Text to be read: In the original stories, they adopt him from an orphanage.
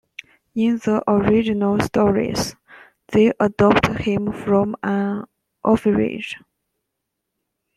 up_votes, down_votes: 0, 2